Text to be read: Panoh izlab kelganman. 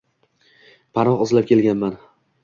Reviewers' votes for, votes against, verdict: 2, 0, accepted